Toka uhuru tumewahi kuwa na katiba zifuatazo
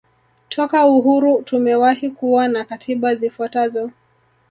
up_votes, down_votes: 1, 2